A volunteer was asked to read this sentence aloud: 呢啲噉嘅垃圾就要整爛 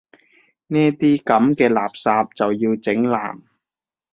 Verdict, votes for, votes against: accepted, 2, 0